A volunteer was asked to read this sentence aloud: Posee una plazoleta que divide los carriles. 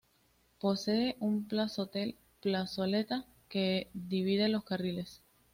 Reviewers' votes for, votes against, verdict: 2, 0, accepted